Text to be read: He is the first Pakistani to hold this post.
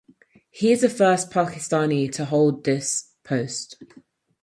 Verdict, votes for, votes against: accepted, 4, 0